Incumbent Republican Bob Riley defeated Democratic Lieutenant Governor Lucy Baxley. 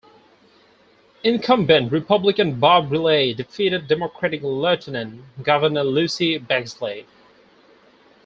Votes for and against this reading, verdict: 2, 4, rejected